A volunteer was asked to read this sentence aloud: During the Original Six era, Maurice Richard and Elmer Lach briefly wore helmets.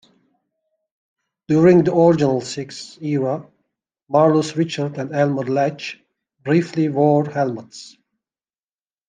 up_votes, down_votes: 0, 2